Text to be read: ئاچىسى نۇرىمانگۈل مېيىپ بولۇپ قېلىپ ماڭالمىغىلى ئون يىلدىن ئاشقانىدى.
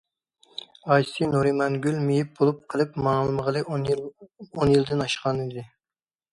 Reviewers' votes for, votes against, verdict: 1, 2, rejected